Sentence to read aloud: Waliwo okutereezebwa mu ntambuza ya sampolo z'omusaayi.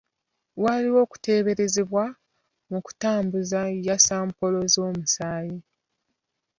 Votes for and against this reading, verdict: 0, 2, rejected